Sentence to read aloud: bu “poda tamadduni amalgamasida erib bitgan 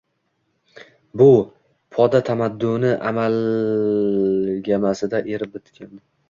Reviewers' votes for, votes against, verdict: 1, 2, rejected